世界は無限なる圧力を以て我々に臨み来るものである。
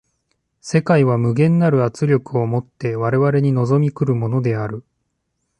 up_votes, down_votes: 2, 0